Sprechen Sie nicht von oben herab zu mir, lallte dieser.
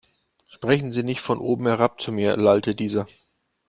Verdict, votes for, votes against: accepted, 2, 0